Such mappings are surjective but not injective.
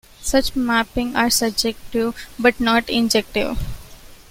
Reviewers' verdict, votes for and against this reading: rejected, 1, 2